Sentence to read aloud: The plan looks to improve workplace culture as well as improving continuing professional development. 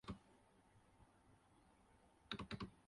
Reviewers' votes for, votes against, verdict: 0, 6, rejected